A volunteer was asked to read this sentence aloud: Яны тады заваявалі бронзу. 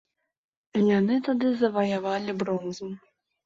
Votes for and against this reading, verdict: 2, 0, accepted